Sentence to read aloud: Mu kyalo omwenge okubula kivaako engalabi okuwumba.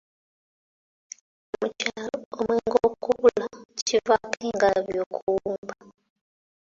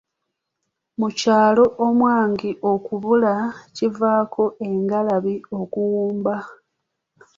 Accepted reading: first